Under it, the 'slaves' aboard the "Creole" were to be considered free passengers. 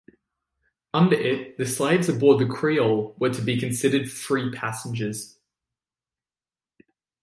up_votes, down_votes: 2, 0